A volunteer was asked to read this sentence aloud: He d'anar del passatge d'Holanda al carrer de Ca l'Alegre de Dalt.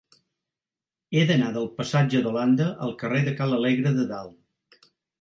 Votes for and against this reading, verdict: 2, 0, accepted